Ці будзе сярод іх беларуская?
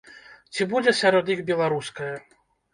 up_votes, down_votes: 2, 0